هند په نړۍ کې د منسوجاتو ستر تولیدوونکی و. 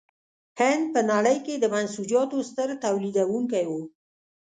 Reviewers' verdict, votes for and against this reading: accepted, 3, 0